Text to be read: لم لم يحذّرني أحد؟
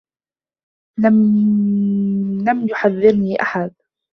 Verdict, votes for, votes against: rejected, 0, 2